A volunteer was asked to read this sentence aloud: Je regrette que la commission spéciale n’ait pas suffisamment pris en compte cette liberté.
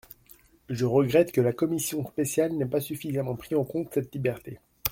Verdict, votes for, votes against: accepted, 2, 0